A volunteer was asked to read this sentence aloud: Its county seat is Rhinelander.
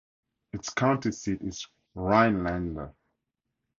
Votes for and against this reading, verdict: 4, 0, accepted